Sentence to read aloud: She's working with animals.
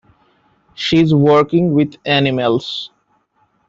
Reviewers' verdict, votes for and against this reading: rejected, 1, 2